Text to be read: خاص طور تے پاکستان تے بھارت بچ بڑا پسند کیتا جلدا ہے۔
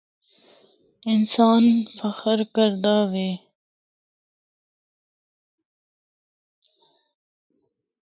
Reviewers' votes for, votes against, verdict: 0, 2, rejected